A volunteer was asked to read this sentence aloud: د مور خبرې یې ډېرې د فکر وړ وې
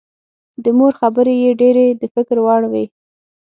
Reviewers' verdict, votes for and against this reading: accepted, 6, 0